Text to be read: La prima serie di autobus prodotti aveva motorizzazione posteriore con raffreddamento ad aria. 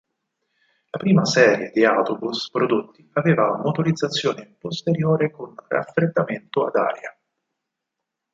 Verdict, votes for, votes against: rejected, 2, 6